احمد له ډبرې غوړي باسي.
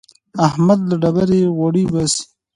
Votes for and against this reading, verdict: 1, 2, rejected